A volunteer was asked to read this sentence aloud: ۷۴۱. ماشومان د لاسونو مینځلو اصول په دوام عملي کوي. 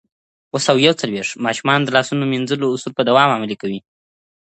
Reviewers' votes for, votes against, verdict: 0, 2, rejected